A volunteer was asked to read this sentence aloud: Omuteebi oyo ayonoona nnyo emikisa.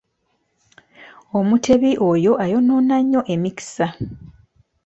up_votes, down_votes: 0, 2